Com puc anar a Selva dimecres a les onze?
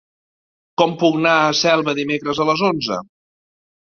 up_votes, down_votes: 1, 2